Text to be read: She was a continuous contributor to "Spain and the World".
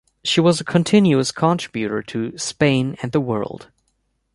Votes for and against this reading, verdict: 2, 0, accepted